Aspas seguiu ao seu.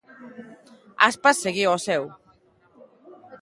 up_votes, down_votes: 2, 0